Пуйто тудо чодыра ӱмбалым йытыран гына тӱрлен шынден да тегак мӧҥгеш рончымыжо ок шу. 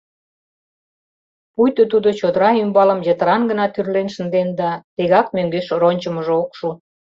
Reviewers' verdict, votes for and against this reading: accepted, 2, 0